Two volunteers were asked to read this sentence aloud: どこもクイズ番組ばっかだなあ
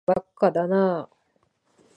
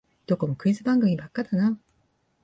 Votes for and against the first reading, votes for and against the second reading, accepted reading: 0, 2, 2, 0, second